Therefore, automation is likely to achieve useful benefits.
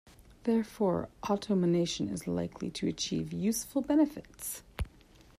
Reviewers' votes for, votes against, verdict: 1, 2, rejected